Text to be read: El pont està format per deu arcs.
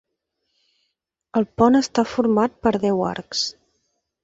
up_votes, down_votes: 3, 0